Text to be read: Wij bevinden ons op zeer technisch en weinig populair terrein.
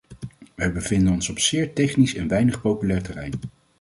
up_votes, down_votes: 2, 0